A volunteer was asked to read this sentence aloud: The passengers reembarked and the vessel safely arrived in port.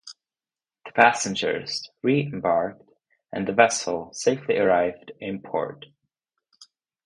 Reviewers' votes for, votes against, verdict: 0, 2, rejected